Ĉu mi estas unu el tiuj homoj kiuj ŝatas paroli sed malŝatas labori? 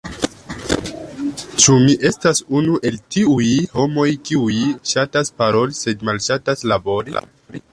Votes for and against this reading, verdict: 0, 2, rejected